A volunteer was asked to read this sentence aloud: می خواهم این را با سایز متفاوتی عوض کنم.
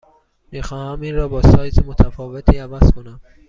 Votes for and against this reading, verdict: 3, 0, accepted